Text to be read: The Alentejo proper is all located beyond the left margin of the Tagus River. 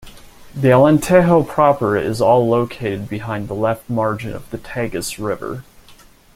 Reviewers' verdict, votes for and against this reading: rejected, 0, 2